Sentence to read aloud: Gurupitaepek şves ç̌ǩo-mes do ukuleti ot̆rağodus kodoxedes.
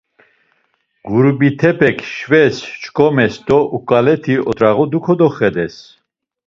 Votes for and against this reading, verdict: 1, 2, rejected